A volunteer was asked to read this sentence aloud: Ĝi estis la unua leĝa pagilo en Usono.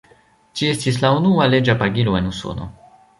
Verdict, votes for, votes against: accepted, 2, 0